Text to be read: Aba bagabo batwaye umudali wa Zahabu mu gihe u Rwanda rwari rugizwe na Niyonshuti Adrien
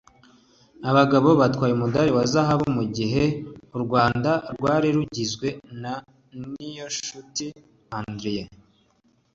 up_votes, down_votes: 2, 0